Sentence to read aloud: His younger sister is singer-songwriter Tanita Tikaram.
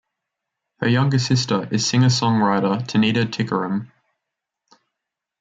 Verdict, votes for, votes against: accepted, 2, 0